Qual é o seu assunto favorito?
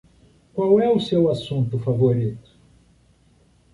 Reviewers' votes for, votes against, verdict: 2, 0, accepted